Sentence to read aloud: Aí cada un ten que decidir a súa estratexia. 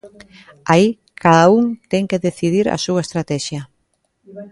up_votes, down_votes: 0, 2